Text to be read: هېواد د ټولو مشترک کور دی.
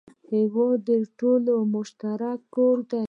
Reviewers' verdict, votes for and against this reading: accepted, 2, 1